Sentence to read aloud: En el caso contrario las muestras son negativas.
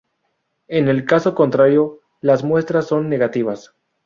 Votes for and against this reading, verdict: 0, 2, rejected